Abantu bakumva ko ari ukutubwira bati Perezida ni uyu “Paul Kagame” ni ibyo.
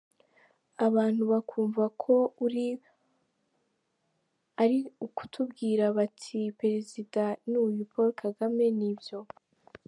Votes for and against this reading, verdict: 0, 2, rejected